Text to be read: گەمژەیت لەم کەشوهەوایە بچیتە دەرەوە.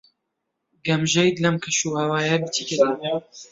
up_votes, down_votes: 0, 2